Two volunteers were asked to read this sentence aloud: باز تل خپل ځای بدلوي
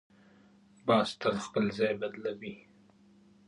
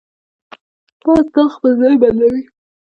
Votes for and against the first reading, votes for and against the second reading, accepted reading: 1, 2, 2, 0, second